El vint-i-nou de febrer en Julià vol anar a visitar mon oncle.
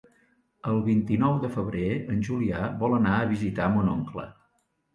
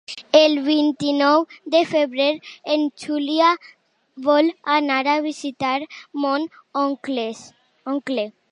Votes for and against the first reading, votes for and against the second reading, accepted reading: 2, 0, 1, 2, first